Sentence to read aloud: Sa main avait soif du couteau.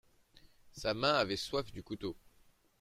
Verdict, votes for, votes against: rejected, 1, 2